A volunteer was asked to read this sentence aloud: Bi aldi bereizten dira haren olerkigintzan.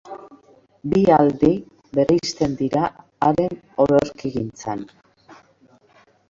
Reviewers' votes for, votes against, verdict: 0, 2, rejected